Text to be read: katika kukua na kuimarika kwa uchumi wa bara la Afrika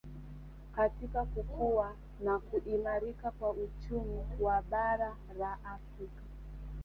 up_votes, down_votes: 2, 0